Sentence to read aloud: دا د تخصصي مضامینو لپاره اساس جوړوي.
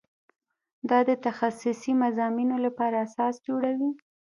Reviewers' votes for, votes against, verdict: 2, 0, accepted